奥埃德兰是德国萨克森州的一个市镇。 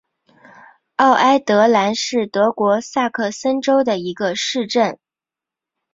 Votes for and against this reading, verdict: 2, 1, accepted